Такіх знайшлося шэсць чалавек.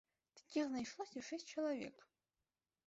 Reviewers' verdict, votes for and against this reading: rejected, 1, 2